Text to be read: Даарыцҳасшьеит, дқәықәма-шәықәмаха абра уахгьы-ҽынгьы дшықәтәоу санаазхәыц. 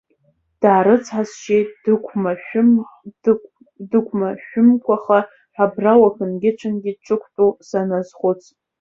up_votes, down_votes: 0, 2